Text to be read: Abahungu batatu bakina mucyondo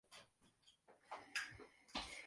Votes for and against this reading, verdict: 0, 2, rejected